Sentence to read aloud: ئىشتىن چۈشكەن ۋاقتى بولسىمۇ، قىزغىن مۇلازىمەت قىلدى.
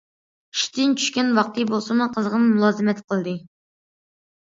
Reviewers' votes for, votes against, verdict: 2, 0, accepted